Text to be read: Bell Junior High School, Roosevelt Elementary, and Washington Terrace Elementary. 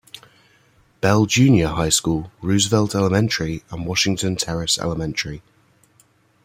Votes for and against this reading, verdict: 2, 0, accepted